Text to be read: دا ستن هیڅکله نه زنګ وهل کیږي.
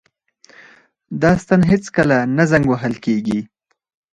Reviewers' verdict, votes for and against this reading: rejected, 2, 4